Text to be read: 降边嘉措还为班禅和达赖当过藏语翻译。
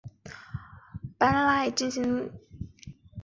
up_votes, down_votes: 0, 3